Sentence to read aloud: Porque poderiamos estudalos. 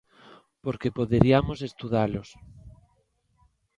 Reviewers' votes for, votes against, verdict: 2, 0, accepted